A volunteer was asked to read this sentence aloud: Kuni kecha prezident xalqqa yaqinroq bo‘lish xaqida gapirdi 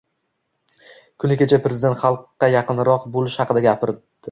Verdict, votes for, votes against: rejected, 1, 2